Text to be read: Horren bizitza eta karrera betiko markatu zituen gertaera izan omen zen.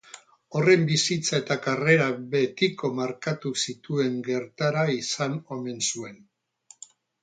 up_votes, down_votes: 2, 4